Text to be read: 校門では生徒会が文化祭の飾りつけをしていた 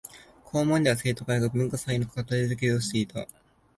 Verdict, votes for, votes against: rejected, 0, 2